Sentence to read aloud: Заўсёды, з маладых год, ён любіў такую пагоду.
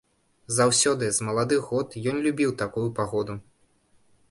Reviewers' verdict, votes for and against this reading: accepted, 2, 0